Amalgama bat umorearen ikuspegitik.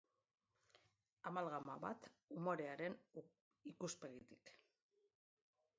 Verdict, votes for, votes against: rejected, 0, 2